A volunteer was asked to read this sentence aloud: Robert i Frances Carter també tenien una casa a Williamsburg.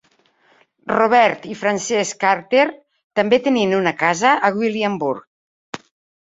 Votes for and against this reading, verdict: 1, 2, rejected